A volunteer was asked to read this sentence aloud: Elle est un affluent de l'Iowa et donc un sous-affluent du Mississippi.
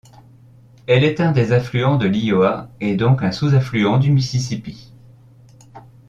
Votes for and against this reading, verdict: 1, 2, rejected